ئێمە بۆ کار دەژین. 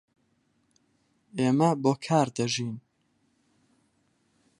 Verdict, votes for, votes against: accepted, 4, 0